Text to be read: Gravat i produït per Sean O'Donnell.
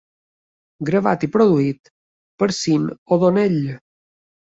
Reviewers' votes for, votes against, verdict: 3, 0, accepted